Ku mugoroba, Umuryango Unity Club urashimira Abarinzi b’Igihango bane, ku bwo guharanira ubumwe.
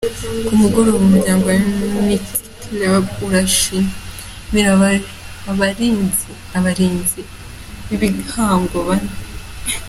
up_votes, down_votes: 1, 2